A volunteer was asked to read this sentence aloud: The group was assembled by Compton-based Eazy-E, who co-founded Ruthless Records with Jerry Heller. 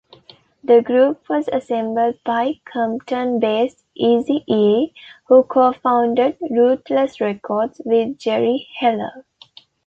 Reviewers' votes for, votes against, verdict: 2, 0, accepted